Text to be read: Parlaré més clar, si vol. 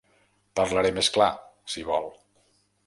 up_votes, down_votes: 4, 0